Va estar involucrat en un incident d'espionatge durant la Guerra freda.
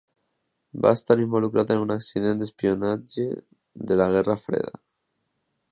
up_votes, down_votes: 0, 2